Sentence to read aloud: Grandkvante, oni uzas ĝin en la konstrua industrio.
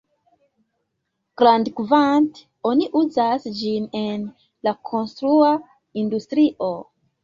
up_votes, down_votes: 2, 1